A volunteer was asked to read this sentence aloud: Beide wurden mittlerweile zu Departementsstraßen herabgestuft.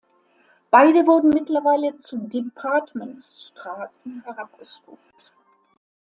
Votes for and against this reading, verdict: 1, 2, rejected